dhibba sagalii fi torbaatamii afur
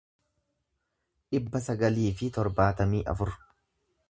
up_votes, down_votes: 2, 0